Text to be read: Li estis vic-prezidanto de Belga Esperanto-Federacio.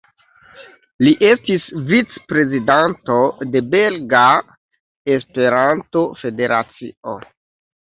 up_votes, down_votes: 2, 0